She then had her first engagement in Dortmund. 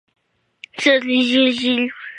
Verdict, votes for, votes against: rejected, 0, 2